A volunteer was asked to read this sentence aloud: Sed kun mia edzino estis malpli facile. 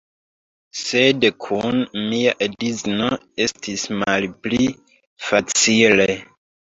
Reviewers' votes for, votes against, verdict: 1, 2, rejected